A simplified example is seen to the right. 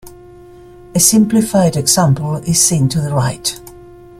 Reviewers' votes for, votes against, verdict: 2, 0, accepted